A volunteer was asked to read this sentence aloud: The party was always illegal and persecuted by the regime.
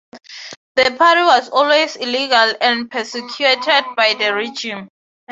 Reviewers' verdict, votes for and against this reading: accepted, 6, 0